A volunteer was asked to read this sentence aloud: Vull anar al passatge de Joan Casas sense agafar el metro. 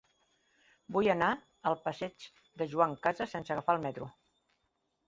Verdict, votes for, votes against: rejected, 0, 2